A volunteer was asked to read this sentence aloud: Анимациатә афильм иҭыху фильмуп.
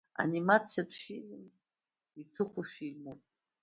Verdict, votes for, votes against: rejected, 1, 2